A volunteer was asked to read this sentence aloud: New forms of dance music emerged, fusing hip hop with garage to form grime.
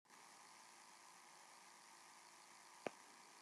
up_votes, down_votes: 0, 2